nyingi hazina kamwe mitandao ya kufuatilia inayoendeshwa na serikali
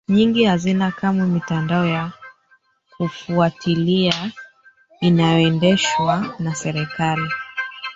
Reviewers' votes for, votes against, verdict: 0, 2, rejected